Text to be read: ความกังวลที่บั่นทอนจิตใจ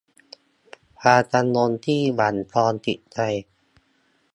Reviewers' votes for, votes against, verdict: 1, 2, rejected